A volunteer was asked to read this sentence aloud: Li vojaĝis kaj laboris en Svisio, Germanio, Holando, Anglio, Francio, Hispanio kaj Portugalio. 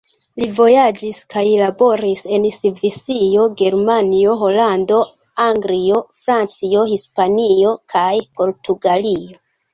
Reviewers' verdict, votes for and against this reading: rejected, 1, 3